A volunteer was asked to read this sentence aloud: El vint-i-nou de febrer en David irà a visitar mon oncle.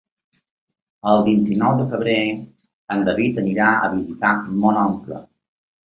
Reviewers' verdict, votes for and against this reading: rejected, 0, 2